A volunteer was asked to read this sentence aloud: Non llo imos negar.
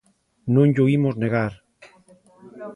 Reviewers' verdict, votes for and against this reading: accepted, 2, 0